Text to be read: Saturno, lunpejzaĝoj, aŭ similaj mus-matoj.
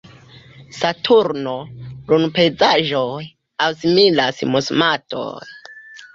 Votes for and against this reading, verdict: 0, 2, rejected